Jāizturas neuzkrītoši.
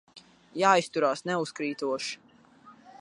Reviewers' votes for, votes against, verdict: 0, 2, rejected